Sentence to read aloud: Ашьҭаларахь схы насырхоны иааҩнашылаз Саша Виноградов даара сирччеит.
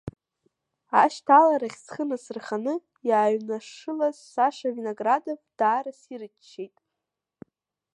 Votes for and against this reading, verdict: 0, 2, rejected